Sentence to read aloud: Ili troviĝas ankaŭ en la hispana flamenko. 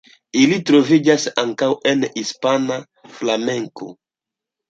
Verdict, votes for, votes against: rejected, 0, 2